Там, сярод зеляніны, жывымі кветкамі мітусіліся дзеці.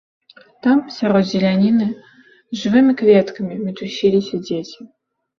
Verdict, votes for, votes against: accepted, 2, 0